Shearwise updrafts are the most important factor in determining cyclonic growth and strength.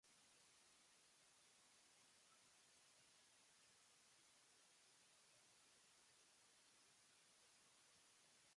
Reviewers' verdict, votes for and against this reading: rejected, 0, 3